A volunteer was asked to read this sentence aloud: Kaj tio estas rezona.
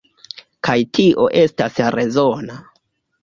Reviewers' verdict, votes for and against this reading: accepted, 2, 1